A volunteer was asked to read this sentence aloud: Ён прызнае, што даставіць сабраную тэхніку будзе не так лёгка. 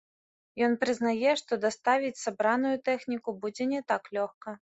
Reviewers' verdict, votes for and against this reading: rejected, 1, 2